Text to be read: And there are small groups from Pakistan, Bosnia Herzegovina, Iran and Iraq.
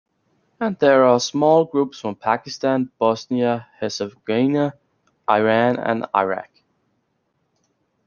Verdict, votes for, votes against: rejected, 1, 2